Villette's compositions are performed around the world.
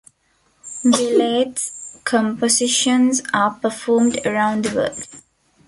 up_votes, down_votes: 2, 1